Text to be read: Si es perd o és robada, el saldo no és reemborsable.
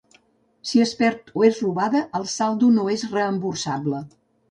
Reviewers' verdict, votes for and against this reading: accepted, 2, 0